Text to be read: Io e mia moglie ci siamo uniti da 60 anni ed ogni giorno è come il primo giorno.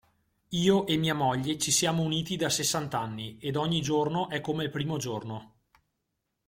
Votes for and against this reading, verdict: 0, 2, rejected